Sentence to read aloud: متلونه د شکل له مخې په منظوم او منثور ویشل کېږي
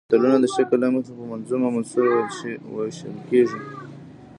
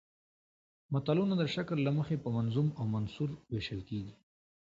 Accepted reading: second